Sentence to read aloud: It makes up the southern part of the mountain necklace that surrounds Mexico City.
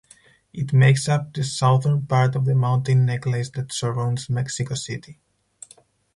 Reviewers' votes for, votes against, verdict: 4, 0, accepted